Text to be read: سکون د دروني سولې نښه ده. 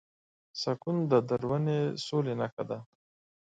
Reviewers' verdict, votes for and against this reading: accepted, 2, 0